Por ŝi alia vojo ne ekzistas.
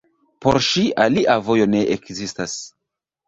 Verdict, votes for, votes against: rejected, 0, 2